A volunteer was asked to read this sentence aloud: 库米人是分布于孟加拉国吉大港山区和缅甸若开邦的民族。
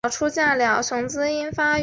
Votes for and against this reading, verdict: 0, 4, rejected